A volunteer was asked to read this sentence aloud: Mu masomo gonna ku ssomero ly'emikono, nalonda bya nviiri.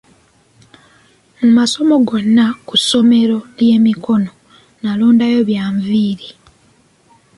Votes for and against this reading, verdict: 2, 1, accepted